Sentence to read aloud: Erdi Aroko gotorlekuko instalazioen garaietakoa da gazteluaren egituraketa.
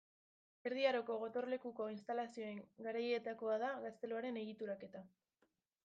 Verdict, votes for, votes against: rejected, 1, 2